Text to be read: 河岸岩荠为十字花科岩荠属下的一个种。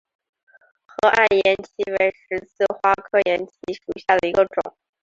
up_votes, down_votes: 3, 0